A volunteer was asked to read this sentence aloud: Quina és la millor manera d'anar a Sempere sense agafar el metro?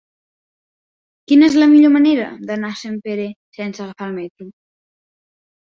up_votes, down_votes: 2, 0